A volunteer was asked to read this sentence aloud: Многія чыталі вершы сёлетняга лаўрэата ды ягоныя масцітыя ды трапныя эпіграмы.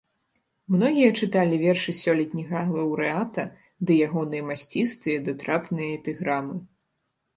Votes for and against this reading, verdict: 0, 2, rejected